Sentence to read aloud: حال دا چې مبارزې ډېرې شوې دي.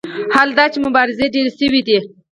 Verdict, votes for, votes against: accepted, 4, 0